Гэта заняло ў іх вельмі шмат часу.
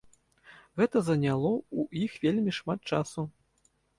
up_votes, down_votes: 2, 0